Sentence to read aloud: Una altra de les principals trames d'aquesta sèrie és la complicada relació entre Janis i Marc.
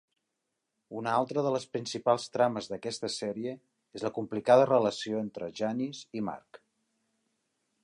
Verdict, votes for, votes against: accepted, 3, 0